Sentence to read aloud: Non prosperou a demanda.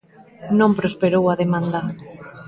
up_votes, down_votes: 2, 0